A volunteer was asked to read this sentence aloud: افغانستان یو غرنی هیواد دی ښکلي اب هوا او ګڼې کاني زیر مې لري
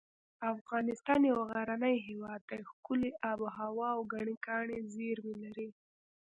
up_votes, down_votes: 1, 2